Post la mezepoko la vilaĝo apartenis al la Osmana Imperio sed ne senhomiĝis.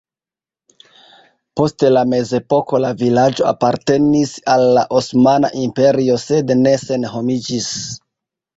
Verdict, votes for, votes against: rejected, 0, 2